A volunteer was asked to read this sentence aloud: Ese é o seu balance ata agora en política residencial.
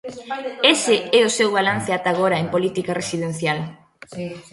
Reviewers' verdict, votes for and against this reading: accepted, 2, 0